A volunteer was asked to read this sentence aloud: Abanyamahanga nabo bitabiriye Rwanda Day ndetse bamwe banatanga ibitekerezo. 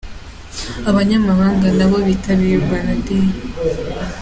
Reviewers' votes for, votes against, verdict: 1, 2, rejected